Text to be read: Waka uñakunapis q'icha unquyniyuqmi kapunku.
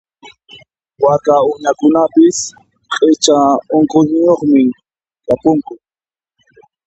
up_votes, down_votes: 2, 0